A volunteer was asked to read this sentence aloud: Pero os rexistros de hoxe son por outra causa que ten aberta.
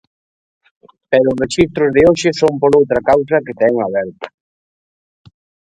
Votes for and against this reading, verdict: 1, 2, rejected